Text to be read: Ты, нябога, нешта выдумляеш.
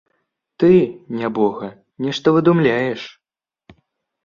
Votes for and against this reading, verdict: 2, 0, accepted